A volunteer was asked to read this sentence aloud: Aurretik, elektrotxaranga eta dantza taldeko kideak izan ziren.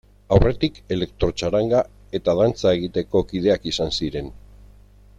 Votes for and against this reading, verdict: 0, 2, rejected